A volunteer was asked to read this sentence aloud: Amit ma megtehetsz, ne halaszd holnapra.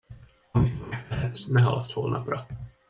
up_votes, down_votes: 0, 2